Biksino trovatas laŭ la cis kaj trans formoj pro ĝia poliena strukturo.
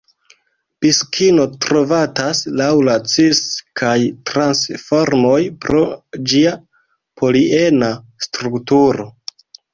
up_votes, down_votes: 1, 2